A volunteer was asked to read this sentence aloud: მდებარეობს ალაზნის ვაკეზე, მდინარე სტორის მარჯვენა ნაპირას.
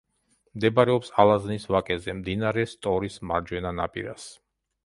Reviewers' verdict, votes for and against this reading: accepted, 2, 0